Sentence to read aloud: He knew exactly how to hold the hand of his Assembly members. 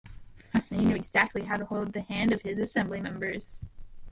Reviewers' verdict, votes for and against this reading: rejected, 2, 3